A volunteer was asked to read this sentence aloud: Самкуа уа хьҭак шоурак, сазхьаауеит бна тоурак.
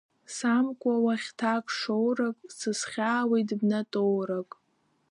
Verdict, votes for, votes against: rejected, 0, 2